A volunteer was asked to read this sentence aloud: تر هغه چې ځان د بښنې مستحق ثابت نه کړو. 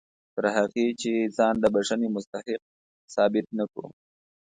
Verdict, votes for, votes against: accepted, 2, 0